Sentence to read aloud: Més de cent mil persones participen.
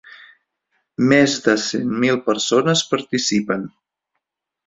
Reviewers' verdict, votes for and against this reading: accepted, 3, 0